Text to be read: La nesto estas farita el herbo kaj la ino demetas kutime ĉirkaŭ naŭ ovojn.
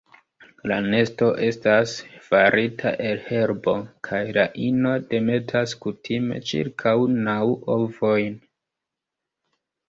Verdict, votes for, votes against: accepted, 2, 0